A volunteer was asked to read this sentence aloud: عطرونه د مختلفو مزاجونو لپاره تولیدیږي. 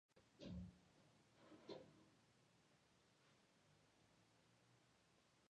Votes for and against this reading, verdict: 0, 2, rejected